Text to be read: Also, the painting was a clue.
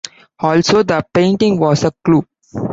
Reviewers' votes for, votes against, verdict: 2, 0, accepted